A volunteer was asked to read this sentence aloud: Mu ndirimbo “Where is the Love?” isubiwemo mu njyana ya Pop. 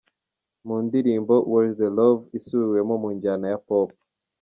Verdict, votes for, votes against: accepted, 2, 0